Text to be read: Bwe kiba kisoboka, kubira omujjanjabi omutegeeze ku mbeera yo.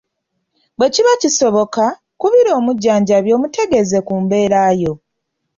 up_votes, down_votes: 2, 0